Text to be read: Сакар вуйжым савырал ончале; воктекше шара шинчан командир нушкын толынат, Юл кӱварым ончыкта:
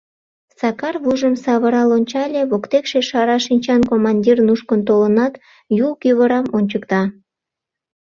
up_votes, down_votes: 0, 2